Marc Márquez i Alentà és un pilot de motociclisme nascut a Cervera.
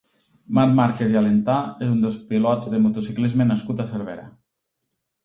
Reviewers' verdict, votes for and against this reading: rejected, 1, 2